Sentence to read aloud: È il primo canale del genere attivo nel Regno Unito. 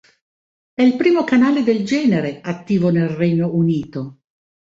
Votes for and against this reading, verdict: 2, 0, accepted